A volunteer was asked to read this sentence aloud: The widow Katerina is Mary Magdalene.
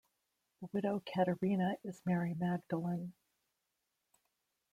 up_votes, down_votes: 0, 2